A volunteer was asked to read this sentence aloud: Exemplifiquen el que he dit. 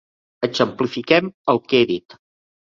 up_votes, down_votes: 0, 2